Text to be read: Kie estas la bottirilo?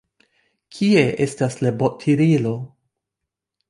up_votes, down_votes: 1, 2